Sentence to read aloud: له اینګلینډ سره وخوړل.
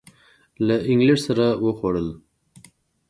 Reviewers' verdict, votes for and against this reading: accepted, 2, 0